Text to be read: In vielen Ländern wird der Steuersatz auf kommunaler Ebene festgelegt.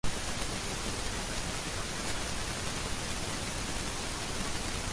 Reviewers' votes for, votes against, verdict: 0, 2, rejected